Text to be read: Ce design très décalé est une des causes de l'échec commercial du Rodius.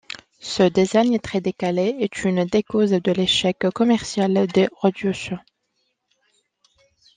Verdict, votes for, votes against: rejected, 0, 2